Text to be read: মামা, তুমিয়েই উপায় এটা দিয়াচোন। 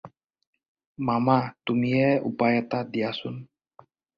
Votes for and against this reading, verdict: 0, 2, rejected